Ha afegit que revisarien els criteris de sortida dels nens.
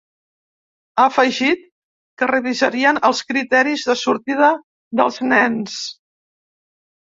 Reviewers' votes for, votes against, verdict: 3, 0, accepted